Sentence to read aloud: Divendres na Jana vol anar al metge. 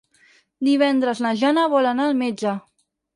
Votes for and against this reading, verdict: 4, 0, accepted